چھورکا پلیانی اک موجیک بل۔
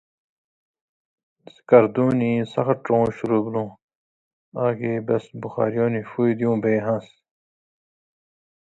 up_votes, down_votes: 0, 2